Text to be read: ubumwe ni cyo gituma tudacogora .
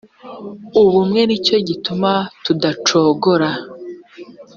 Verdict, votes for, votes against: accepted, 2, 0